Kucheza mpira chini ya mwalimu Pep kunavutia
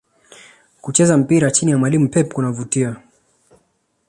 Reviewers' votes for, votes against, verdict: 2, 0, accepted